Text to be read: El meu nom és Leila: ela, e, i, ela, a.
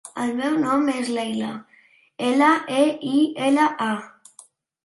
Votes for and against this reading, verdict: 2, 0, accepted